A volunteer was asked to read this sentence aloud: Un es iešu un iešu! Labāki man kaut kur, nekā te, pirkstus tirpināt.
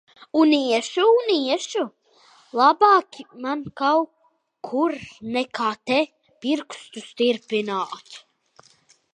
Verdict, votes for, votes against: rejected, 0, 2